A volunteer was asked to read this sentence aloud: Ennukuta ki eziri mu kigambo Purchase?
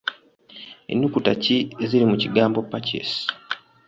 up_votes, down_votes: 2, 0